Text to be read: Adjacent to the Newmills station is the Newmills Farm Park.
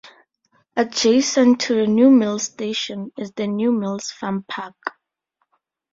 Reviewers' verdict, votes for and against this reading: rejected, 0, 2